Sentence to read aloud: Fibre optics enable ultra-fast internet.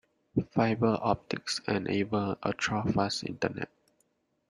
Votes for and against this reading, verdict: 2, 0, accepted